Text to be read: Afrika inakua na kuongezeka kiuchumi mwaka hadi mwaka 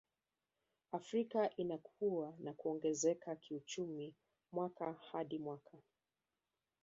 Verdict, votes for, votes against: rejected, 1, 2